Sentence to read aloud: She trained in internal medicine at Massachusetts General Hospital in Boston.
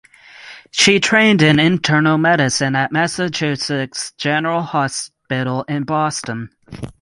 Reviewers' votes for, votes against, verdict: 6, 0, accepted